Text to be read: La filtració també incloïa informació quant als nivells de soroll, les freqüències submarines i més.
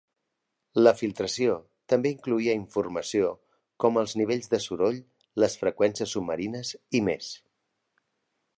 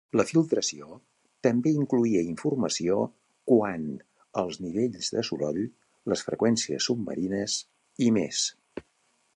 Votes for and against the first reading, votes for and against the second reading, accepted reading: 0, 2, 2, 0, second